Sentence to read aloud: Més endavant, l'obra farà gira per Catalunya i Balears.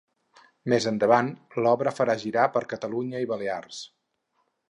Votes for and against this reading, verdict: 2, 2, rejected